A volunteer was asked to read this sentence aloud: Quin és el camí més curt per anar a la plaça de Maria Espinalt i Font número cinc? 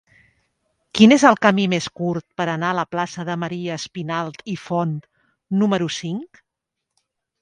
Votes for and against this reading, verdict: 3, 0, accepted